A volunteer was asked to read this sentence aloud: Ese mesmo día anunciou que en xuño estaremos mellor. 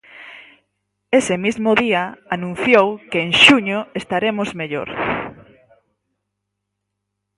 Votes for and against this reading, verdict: 0, 4, rejected